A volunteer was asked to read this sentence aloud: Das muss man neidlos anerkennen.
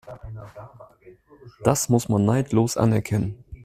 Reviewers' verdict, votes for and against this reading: accepted, 2, 0